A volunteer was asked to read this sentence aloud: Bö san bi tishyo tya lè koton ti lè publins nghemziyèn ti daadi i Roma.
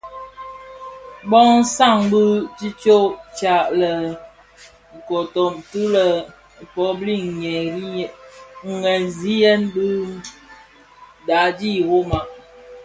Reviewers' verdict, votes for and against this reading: accepted, 2, 0